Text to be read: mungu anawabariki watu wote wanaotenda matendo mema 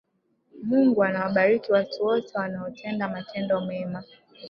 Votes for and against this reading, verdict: 0, 2, rejected